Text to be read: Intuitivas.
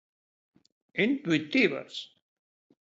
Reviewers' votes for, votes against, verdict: 3, 0, accepted